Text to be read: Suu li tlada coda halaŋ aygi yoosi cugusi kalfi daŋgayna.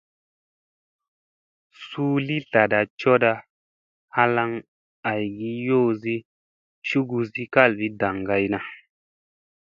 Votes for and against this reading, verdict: 2, 0, accepted